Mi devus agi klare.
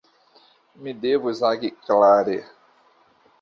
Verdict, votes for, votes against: accepted, 2, 0